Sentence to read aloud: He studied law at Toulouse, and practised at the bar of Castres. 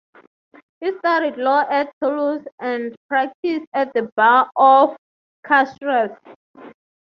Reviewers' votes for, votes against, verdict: 3, 3, rejected